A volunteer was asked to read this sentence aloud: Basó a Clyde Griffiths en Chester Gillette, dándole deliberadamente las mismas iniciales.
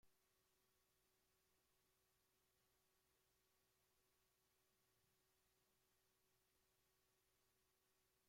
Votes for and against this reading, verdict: 0, 2, rejected